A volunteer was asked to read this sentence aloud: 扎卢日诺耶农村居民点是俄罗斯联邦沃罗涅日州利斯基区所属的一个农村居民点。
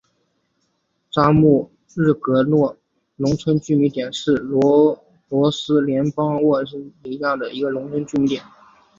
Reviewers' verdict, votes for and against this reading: rejected, 3, 3